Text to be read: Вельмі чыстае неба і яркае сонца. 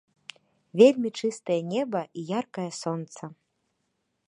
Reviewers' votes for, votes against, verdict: 2, 0, accepted